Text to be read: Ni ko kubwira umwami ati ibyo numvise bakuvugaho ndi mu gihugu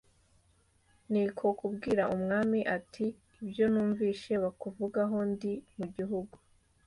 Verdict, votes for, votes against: accepted, 2, 0